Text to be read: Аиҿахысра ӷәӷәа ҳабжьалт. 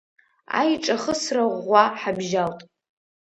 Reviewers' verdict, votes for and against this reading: rejected, 0, 2